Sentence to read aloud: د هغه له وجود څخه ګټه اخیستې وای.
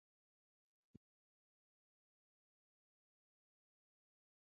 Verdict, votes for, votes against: rejected, 0, 2